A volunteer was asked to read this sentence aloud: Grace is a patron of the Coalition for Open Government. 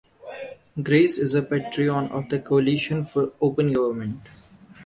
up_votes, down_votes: 0, 3